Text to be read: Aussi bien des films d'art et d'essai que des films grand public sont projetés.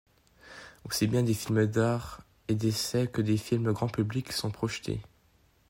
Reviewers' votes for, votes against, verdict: 2, 0, accepted